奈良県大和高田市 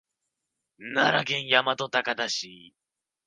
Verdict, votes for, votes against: rejected, 1, 2